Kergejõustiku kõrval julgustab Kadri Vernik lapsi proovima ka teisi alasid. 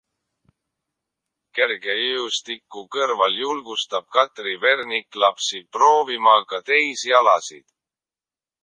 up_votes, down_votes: 0, 2